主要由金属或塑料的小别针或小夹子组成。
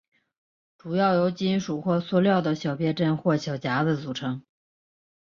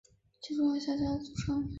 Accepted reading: first